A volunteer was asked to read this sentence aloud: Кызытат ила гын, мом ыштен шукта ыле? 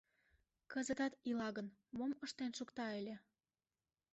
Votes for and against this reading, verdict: 1, 2, rejected